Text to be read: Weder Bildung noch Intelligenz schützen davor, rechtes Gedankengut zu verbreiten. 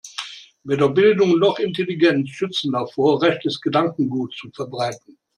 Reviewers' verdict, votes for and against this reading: accepted, 2, 0